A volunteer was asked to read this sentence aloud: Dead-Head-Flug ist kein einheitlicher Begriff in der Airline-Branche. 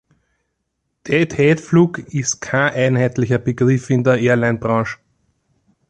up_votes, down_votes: 0, 2